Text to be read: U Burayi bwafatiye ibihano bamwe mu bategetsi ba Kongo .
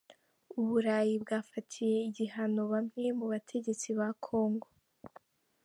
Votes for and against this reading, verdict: 0, 2, rejected